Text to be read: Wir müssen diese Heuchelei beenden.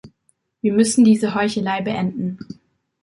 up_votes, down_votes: 2, 0